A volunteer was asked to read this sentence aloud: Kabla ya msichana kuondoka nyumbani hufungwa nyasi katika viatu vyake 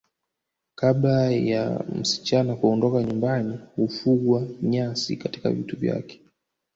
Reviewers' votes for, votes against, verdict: 2, 3, rejected